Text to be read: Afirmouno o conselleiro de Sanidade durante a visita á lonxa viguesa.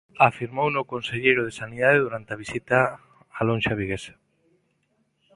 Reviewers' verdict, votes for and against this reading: accepted, 2, 0